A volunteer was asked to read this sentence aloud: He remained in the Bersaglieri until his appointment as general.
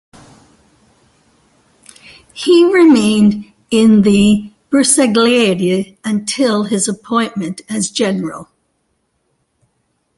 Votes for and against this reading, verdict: 0, 2, rejected